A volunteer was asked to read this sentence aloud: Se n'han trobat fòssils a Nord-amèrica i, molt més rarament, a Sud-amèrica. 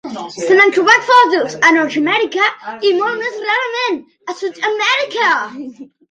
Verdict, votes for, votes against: rejected, 0, 2